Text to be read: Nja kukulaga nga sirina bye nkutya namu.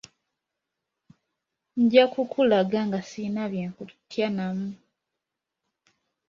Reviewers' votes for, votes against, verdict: 2, 0, accepted